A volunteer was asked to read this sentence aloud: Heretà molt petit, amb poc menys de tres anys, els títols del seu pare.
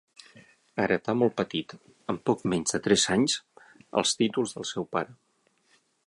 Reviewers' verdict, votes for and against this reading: accepted, 9, 0